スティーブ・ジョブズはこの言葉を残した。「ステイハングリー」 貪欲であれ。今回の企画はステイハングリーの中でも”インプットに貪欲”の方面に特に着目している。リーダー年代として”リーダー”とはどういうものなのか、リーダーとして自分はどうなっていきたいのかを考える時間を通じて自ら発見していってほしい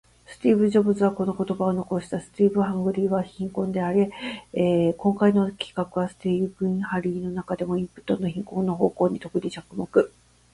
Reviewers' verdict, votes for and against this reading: rejected, 1, 2